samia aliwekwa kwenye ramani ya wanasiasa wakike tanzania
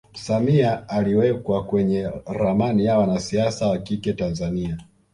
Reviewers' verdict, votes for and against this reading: accepted, 2, 1